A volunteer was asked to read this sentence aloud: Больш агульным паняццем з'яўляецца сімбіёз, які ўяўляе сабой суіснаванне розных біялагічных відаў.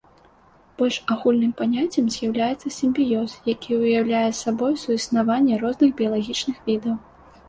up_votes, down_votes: 2, 0